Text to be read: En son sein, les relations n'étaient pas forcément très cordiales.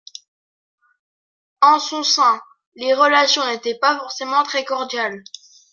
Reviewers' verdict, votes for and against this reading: accepted, 2, 1